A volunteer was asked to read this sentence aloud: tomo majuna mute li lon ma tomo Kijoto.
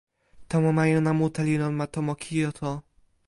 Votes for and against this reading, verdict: 2, 0, accepted